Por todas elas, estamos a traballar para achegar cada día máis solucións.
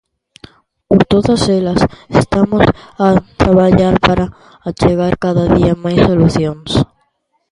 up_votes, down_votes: 0, 2